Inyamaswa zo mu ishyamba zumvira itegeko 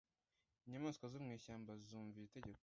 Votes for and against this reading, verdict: 1, 2, rejected